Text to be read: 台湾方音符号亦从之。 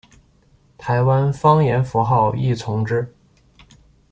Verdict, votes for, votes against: rejected, 1, 2